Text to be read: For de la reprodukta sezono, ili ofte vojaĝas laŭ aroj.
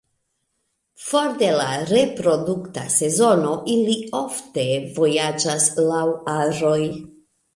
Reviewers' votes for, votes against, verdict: 1, 2, rejected